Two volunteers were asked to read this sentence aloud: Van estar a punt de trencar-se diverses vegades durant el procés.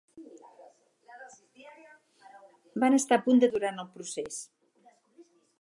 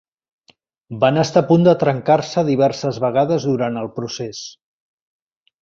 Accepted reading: second